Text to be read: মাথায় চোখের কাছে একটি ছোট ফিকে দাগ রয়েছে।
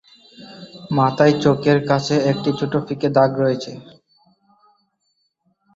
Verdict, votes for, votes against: rejected, 0, 2